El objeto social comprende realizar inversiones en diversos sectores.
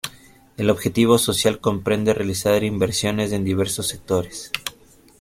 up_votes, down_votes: 1, 2